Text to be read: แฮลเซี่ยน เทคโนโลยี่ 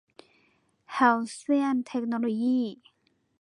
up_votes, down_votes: 2, 0